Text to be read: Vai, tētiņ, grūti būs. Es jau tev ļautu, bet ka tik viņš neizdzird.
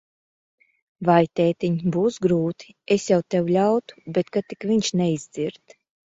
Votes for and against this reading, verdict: 0, 2, rejected